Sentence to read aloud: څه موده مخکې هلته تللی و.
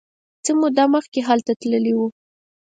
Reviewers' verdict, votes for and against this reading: accepted, 4, 0